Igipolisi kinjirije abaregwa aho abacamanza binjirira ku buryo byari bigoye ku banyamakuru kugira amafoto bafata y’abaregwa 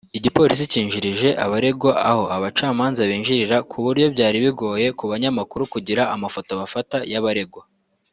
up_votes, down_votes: 2, 0